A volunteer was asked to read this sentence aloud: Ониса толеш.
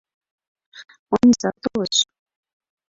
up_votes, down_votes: 0, 2